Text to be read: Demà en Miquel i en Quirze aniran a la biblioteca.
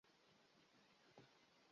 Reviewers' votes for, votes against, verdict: 0, 2, rejected